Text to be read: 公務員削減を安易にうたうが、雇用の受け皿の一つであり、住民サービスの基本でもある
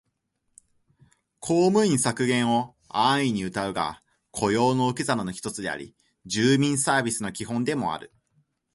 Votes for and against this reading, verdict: 2, 0, accepted